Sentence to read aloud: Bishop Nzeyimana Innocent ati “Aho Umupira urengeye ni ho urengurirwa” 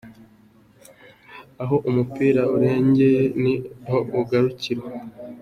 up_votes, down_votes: 0, 2